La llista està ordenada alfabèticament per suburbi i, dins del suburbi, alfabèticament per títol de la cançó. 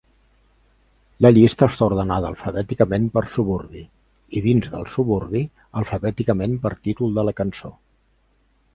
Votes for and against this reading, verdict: 3, 0, accepted